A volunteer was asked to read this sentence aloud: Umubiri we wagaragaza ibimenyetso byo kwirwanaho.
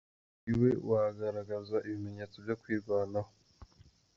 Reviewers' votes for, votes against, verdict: 0, 2, rejected